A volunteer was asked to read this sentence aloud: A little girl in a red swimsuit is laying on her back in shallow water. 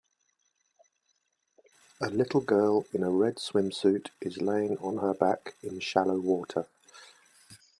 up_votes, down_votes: 2, 0